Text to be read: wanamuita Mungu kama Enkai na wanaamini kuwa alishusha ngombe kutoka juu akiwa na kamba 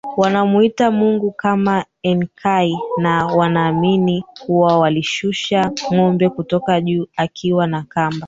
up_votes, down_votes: 0, 4